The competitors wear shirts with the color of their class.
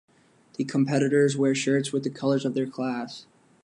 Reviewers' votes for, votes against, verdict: 1, 2, rejected